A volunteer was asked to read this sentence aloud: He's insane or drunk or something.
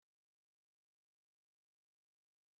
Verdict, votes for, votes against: rejected, 0, 3